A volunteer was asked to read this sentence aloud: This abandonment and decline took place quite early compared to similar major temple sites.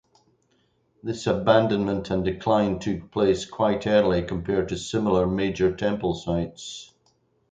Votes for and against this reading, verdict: 4, 0, accepted